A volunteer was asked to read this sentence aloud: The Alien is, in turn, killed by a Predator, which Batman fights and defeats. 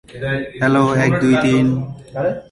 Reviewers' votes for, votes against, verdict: 0, 2, rejected